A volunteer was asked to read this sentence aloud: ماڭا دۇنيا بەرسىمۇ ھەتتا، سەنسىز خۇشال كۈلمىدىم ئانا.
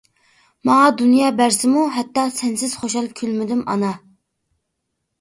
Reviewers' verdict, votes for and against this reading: accepted, 2, 0